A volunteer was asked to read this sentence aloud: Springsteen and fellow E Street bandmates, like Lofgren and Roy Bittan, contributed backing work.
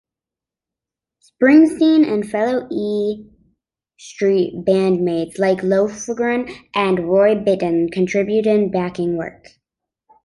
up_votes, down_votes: 2, 1